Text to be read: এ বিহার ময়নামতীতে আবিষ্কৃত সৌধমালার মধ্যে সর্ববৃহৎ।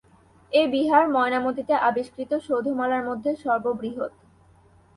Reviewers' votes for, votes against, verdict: 2, 0, accepted